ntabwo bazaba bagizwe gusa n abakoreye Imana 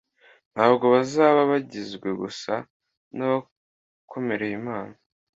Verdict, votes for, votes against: rejected, 0, 2